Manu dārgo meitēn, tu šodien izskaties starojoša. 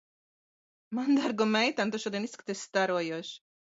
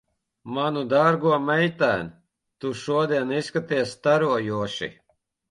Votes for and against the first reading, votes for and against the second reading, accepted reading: 2, 0, 1, 2, first